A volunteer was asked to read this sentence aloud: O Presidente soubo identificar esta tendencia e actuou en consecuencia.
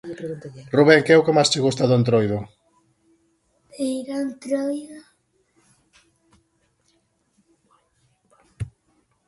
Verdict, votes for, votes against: rejected, 0, 2